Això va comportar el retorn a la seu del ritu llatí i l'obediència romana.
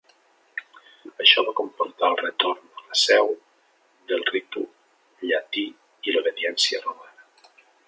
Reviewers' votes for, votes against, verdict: 1, 3, rejected